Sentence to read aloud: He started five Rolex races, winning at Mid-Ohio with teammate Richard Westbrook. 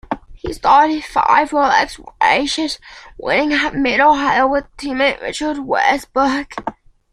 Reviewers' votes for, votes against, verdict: 2, 1, accepted